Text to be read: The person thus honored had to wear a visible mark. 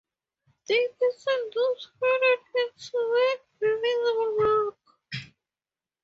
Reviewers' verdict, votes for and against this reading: rejected, 0, 4